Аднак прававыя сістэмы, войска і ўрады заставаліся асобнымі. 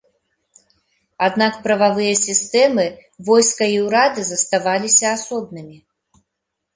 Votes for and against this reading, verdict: 2, 0, accepted